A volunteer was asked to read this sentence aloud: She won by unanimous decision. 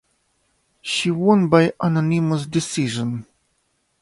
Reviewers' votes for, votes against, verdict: 3, 5, rejected